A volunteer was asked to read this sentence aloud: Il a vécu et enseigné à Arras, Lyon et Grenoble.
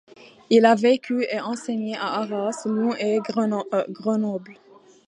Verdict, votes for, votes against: rejected, 0, 2